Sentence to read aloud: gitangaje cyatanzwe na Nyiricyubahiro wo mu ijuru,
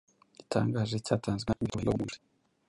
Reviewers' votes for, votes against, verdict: 1, 2, rejected